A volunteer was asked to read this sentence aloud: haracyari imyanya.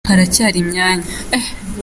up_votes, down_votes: 2, 0